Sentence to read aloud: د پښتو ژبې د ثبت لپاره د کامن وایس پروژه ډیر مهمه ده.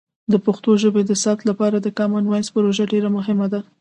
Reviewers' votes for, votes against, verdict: 2, 0, accepted